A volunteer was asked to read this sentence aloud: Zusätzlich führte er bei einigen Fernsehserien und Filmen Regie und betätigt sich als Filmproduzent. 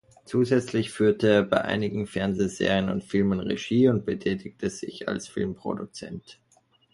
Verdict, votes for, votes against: rejected, 1, 2